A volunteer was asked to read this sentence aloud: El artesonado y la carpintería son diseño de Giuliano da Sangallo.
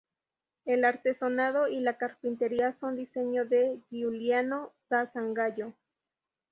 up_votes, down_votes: 2, 0